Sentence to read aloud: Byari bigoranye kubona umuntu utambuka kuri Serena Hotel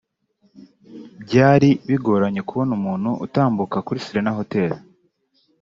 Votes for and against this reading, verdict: 2, 0, accepted